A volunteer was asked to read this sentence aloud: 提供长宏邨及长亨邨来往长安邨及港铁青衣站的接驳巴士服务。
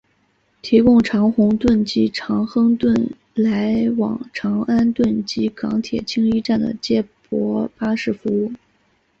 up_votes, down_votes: 4, 1